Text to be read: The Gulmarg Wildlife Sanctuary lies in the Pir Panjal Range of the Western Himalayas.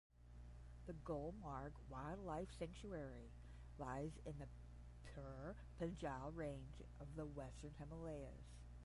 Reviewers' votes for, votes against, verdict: 5, 10, rejected